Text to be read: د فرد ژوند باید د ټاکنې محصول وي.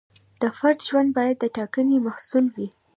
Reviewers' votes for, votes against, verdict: 2, 0, accepted